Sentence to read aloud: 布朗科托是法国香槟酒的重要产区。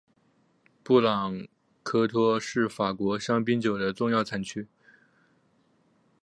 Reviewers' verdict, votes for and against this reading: rejected, 0, 2